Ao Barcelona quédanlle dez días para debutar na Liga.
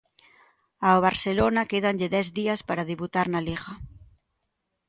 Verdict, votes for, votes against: accepted, 2, 0